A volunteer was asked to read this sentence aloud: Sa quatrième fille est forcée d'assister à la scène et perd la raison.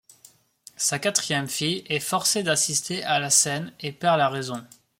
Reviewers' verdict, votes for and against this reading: accepted, 2, 0